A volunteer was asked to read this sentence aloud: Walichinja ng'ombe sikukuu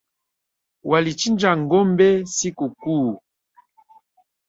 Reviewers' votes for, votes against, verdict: 4, 1, accepted